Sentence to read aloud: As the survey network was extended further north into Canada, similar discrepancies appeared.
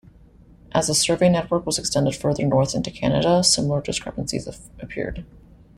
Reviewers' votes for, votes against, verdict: 1, 2, rejected